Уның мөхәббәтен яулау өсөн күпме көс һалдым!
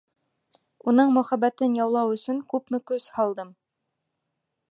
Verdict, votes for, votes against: accepted, 2, 0